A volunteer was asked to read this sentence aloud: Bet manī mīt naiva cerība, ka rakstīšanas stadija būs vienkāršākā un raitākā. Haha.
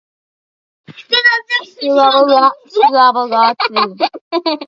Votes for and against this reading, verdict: 0, 2, rejected